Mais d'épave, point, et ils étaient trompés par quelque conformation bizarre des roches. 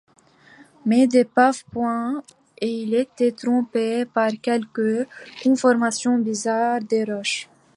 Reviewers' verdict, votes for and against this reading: accepted, 2, 0